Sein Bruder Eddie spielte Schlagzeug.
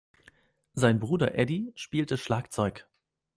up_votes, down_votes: 2, 0